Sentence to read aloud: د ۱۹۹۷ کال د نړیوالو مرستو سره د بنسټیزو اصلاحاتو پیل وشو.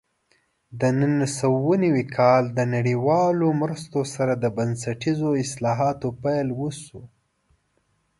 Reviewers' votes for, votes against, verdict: 0, 2, rejected